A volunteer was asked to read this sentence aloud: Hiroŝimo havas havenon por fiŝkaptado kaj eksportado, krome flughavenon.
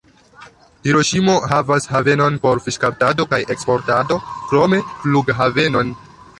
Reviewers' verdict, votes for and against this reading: rejected, 0, 3